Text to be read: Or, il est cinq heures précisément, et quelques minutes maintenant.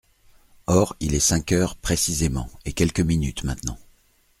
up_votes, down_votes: 3, 0